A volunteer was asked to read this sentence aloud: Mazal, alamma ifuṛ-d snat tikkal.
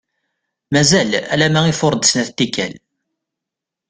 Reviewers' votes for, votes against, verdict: 2, 0, accepted